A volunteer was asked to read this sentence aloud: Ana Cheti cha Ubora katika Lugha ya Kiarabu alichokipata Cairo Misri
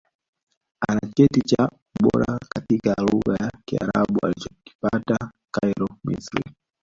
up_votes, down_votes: 1, 2